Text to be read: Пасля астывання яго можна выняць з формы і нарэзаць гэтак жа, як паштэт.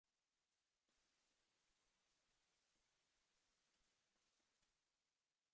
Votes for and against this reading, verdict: 0, 2, rejected